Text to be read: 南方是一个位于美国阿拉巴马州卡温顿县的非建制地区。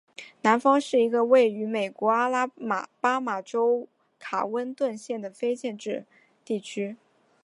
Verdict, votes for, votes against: accepted, 2, 0